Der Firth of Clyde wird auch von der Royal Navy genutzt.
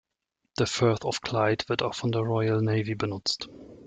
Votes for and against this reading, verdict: 1, 2, rejected